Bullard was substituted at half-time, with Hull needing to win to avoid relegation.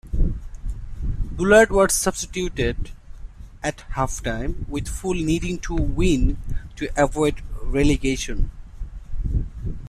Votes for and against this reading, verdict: 0, 2, rejected